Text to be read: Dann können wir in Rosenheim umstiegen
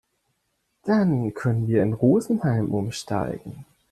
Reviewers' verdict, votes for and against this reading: rejected, 0, 3